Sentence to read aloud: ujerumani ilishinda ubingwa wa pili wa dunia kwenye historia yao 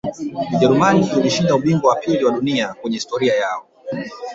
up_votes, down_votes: 1, 2